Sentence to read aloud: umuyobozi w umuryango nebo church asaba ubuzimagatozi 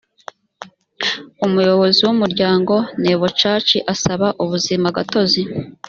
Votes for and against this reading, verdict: 2, 0, accepted